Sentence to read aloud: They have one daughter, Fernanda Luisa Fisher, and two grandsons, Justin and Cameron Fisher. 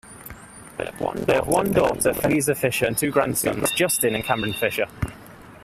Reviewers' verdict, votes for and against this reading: accepted, 2, 1